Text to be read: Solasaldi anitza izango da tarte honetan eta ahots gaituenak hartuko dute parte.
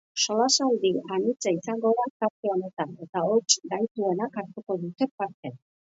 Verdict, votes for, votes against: accepted, 5, 0